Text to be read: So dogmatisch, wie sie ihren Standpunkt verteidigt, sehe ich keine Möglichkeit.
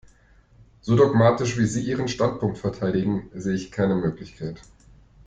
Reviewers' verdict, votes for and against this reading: rejected, 0, 2